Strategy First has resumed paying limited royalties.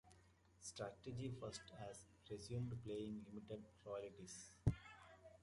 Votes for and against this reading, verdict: 0, 2, rejected